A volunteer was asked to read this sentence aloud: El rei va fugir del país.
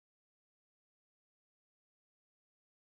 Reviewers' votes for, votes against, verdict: 0, 2, rejected